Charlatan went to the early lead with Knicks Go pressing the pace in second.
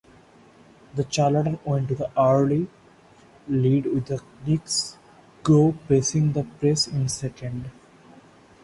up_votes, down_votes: 1, 2